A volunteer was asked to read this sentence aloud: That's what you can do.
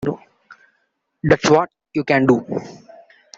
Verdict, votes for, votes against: accepted, 2, 1